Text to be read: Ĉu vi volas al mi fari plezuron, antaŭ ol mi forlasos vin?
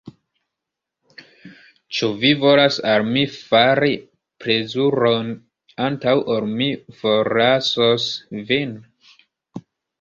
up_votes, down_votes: 1, 2